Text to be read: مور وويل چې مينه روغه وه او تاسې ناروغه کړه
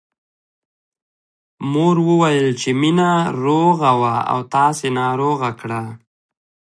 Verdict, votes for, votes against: accepted, 2, 1